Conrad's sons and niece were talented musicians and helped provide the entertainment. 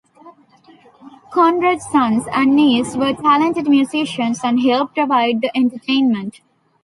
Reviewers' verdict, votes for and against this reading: accepted, 2, 0